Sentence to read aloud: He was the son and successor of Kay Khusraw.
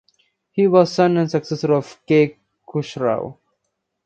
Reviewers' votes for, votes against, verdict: 2, 1, accepted